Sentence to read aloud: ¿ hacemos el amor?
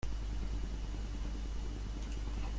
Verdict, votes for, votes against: rejected, 0, 2